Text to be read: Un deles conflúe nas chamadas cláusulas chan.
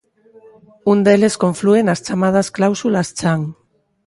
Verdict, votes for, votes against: accepted, 2, 0